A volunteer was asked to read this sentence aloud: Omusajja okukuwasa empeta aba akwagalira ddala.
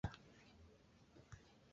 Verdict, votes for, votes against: rejected, 0, 2